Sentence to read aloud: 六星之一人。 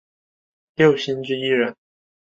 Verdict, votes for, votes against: accepted, 3, 0